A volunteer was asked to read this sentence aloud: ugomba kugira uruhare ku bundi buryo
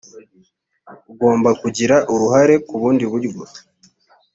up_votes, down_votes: 2, 0